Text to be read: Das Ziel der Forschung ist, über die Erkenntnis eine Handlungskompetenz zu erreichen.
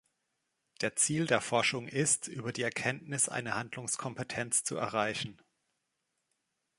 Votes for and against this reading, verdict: 0, 2, rejected